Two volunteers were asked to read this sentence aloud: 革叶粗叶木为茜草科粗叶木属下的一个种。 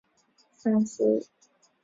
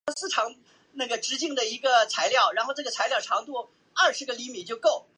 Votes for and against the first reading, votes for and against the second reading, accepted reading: 3, 1, 4, 5, first